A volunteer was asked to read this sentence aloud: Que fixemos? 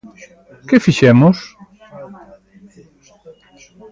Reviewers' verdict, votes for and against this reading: accepted, 2, 0